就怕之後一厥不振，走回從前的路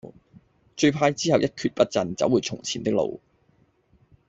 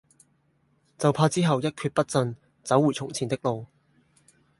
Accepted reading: second